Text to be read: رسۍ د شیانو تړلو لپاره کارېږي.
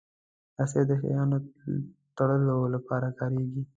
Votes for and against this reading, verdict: 0, 2, rejected